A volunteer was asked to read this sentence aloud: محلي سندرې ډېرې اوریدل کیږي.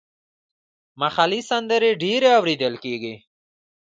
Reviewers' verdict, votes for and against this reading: rejected, 1, 2